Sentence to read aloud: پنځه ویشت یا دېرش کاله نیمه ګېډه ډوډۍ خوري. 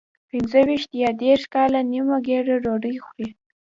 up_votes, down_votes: 2, 0